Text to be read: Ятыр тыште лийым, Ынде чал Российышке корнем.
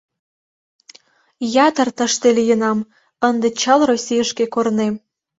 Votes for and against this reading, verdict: 0, 2, rejected